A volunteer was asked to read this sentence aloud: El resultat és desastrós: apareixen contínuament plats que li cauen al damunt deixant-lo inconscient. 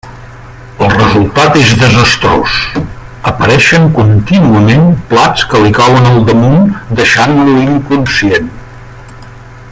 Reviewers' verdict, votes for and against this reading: accepted, 2, 1